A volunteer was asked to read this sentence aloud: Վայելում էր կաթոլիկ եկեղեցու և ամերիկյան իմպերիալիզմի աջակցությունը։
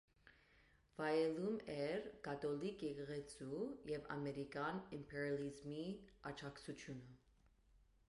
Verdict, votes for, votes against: rejected, 0, 2